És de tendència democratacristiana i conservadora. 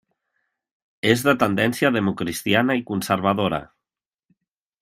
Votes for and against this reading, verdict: 1, 2, rejected